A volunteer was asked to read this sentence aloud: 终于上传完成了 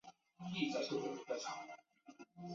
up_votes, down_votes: 2, 2